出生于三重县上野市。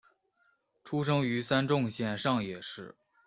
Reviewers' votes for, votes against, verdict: 1, 2, rejected